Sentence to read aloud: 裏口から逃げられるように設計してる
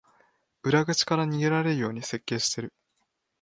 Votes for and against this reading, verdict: 6, 0, accepted